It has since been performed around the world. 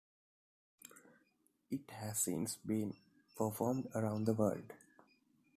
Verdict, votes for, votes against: accepted, 2, 0